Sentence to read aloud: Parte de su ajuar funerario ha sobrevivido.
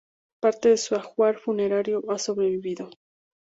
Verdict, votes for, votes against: rejected, 2, 2